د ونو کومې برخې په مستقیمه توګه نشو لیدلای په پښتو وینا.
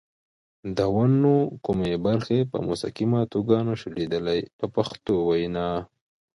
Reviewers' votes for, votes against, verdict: 0, 2, rejected